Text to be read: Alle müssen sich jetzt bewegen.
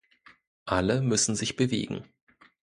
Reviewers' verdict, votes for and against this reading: rejected, 0, 2